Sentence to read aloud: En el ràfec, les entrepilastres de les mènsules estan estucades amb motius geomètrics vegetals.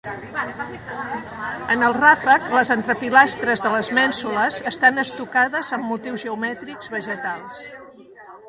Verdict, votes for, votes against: rejected, 1, 2